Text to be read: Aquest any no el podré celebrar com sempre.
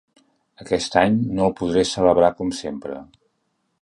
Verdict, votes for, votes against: accepted, 3, 0